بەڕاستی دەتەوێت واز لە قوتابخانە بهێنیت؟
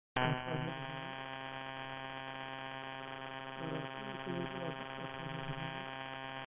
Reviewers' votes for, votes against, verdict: 0, 2, rejected